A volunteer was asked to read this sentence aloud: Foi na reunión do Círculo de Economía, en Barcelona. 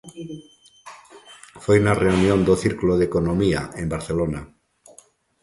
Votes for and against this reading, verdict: 2, 0, accepted